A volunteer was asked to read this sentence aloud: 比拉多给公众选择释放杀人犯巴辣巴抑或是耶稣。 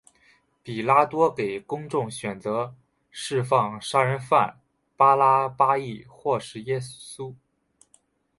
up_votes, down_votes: 3, 0